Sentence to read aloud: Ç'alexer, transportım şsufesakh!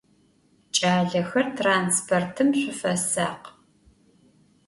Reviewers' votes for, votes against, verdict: 2, 0, accepted